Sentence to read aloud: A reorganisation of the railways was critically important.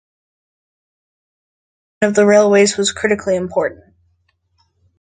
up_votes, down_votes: 0, 3